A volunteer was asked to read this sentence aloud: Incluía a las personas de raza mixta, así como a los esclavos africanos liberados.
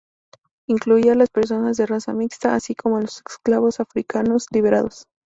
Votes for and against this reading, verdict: 0, 2, rejected